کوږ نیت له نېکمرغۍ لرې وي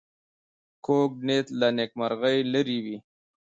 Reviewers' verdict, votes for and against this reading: rejected, 0, 2